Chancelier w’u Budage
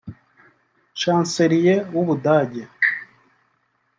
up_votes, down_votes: 1, 2